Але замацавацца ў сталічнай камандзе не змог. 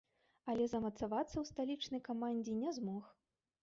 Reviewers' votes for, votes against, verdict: 1, 3, rejected